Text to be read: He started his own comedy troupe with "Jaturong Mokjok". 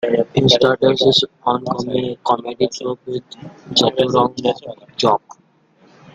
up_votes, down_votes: 0, 2